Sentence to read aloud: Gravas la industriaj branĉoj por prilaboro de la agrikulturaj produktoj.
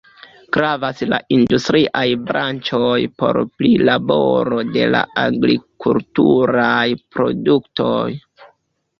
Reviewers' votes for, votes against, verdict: 1, 2, rejected